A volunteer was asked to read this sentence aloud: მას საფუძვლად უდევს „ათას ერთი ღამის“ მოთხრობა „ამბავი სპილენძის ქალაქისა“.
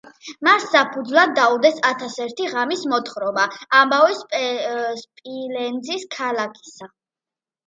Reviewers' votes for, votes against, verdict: 0, 2, rejected